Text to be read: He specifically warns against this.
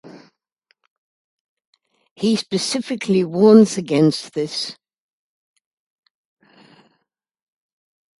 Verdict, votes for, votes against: accepted, 2, 0